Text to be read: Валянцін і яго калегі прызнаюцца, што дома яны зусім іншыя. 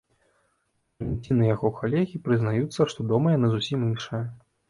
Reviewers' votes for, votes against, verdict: 2, 3, rejected